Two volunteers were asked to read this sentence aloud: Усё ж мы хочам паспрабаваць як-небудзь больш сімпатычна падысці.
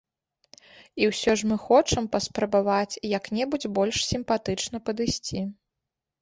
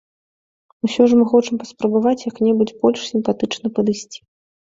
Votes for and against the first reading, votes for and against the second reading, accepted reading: 0, 2, 2, 0, second